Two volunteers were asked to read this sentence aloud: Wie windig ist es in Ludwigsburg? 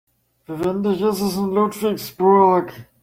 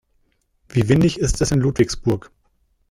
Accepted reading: second